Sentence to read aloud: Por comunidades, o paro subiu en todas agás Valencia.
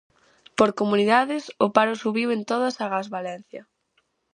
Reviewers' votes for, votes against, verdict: 2, 2, rejected